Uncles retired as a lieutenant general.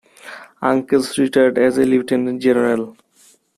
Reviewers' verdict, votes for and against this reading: accepted, 2, 0